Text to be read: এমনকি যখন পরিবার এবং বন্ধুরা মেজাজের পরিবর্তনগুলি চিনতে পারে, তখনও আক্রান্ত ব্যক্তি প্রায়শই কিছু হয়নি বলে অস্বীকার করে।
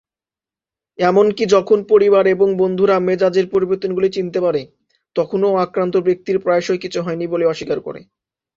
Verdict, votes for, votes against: accepted, 2, 0